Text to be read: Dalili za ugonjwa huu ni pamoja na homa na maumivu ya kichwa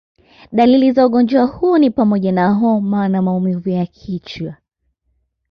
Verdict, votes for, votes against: accepted, 2, 0